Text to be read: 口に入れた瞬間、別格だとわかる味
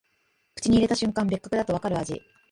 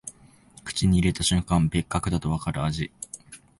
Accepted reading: second